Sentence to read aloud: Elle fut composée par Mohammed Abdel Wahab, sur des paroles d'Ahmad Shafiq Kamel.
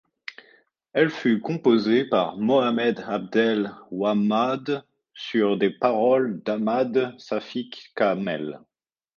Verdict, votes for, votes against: rejected, 0, 2